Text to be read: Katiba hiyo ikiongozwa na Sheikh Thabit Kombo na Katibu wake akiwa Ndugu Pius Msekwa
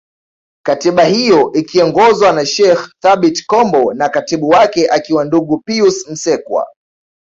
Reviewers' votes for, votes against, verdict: 2, 0, accepted